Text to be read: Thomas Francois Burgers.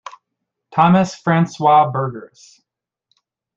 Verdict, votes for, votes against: accepted, 2, 0